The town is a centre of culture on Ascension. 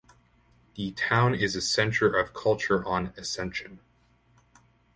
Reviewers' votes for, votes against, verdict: 2, 0, accepted